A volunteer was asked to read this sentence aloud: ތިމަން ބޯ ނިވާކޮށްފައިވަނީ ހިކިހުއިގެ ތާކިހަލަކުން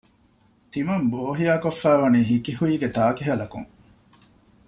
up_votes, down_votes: 0, 2